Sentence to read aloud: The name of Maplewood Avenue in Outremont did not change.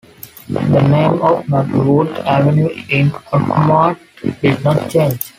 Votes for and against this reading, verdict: 0, 2, rejected